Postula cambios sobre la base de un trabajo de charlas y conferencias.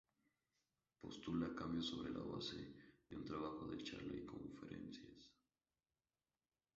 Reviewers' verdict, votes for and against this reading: rejected, 0, 2